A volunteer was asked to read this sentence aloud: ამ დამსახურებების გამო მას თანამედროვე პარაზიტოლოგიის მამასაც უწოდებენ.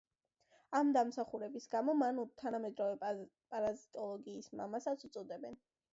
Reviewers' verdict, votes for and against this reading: accepted, 2, 1